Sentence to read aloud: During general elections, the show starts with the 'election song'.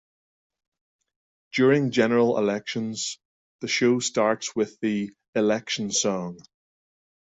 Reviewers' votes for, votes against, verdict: 2, 0, accepted